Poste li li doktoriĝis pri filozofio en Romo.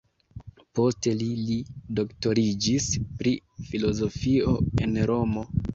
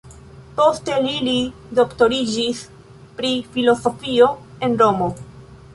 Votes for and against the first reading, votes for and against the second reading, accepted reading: 2, 0, 1, 2, first